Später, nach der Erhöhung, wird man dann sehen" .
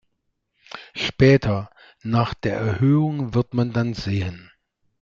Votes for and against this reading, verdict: 2, 0, accepted